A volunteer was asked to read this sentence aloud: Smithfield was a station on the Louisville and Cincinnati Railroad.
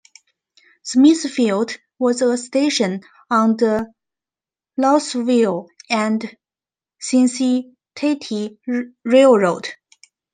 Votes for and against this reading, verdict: 1, 2, rejected